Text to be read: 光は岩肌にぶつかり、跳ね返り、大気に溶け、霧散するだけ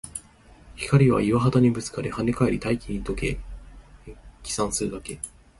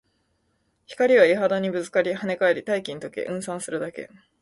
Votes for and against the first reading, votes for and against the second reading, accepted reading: 1, 3, 2, 0, second